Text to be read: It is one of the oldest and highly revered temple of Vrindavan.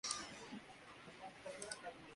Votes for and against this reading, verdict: 1, 2, rejected